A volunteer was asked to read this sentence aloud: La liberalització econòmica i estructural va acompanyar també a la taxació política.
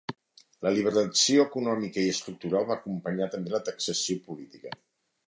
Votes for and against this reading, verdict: 1, 2, rejected